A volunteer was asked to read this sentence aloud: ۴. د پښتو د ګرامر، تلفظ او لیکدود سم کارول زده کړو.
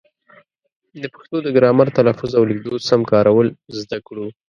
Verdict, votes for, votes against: rejected, 0, 2